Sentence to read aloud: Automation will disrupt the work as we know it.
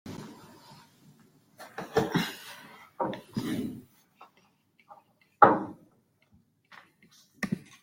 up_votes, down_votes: 0, 2